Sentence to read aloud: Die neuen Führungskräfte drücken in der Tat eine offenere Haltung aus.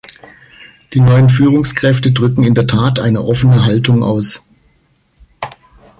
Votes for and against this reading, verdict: 0, 2, rejected